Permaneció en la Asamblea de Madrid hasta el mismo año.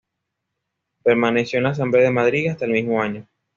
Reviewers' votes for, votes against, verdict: 2, 0, accepted